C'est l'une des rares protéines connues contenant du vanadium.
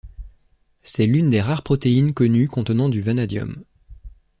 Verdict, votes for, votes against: accepted, 2, 0